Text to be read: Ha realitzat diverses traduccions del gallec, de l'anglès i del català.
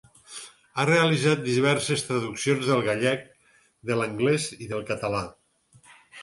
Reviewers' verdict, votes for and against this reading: accepted, 4, 0